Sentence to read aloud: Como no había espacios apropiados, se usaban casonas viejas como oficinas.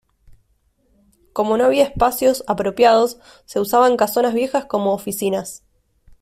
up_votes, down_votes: 2, 0